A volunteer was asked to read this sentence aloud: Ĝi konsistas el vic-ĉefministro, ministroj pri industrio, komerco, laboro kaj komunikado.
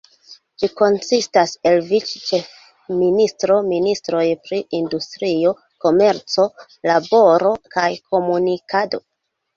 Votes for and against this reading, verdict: 2, 0, accepted